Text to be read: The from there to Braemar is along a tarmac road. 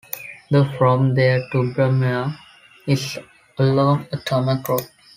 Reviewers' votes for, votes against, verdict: 1, 2, rejected